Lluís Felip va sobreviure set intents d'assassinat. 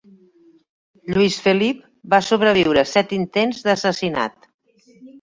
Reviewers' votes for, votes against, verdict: 2, 0, accepted